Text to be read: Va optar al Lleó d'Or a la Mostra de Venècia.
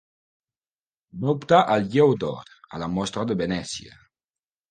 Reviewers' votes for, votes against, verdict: 1, 2, rejected